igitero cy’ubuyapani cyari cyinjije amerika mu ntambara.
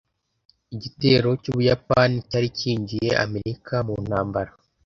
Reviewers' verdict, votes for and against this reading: rejected, 1, 2